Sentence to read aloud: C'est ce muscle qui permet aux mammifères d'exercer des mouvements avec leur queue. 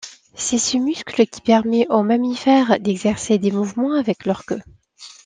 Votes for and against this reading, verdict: 2, 0, accepted